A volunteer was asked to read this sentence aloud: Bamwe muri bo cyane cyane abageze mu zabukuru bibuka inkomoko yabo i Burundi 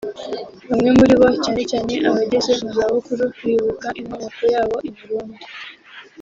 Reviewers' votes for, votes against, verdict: 3, 1, accepted